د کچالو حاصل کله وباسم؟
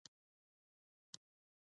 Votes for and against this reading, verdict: 0, 2, rejected